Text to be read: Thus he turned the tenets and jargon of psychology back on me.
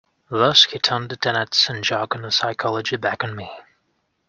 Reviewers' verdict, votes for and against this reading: accepted, 2, 1